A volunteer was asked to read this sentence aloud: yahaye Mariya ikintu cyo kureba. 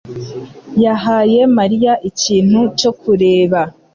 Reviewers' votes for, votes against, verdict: 2, 0, accepted